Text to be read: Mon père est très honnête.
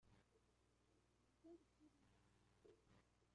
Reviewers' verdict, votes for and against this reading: rejected, 0, 2